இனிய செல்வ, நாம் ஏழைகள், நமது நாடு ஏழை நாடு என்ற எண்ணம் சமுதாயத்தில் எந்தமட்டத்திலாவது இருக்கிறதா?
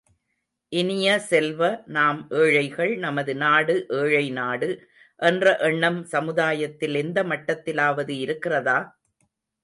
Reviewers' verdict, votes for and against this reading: accepted, 2, 0